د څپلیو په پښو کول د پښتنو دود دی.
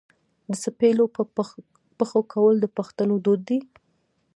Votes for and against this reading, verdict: 1, 2, rejected